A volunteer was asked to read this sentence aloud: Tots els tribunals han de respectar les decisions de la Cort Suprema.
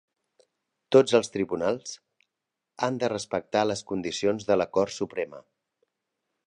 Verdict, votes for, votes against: rejected, 1, 2